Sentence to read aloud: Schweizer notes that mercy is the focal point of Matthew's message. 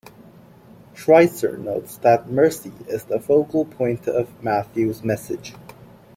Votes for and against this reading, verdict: 2, 0, accepted